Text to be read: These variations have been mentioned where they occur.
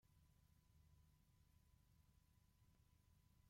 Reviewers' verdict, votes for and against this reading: rejected, 0, 2